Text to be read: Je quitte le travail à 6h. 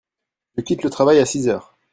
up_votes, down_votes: 0, 2